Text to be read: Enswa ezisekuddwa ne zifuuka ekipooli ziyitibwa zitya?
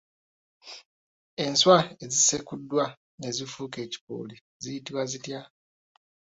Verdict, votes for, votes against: rejected, 2, 3